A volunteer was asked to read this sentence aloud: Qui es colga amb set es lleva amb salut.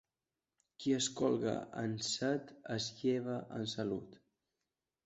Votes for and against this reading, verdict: 0, 2, rejected